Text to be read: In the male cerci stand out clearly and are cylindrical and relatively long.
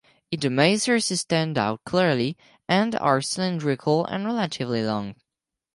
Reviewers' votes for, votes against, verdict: 2, 4, rejected